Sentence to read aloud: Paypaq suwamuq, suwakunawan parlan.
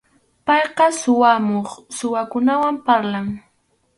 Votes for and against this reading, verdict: 0, 4, rejected